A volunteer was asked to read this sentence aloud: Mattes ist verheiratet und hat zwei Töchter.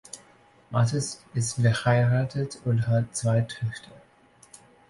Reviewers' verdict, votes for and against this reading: accepted, 2, 0